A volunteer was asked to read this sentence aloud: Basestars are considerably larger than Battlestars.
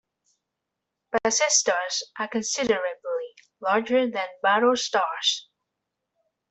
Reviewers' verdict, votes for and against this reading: rejected, 1, 2